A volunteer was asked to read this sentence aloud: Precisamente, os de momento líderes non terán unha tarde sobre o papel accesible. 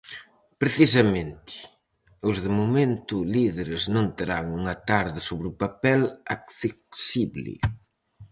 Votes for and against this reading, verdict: 4, 0, accepted